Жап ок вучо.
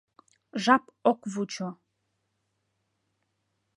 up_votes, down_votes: 2, 0